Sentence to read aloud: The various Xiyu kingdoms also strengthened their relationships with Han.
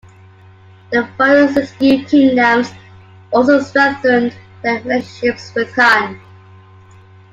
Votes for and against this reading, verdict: 0, 2, rejected